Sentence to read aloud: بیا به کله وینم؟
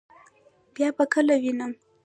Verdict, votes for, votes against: rejected, 1, 2